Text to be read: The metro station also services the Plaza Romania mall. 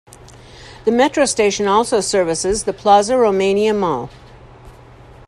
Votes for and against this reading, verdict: 2, 0, accepted